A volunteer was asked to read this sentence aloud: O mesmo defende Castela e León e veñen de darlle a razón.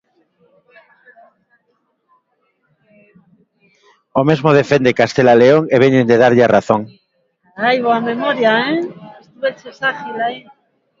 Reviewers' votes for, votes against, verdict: 1, 2, rejected